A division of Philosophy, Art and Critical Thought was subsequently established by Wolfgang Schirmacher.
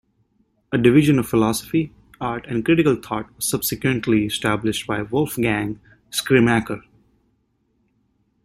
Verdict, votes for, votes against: rejected, 1, 2